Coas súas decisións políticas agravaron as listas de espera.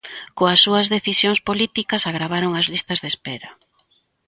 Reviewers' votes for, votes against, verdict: 3, 0, accepted